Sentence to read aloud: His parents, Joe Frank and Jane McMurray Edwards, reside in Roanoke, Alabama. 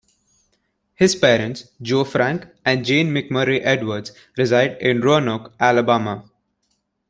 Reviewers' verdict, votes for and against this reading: accepted, 2, 0